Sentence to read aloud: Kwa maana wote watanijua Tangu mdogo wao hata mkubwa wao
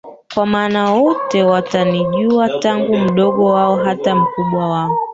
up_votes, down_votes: 0, 2